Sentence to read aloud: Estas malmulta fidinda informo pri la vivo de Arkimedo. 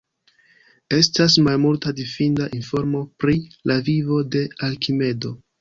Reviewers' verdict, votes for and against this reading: accepted, 2, 0